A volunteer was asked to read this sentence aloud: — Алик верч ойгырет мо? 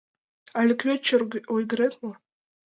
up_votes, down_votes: 1, 2